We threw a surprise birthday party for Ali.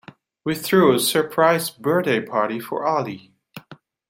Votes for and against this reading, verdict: 0, 2, rejected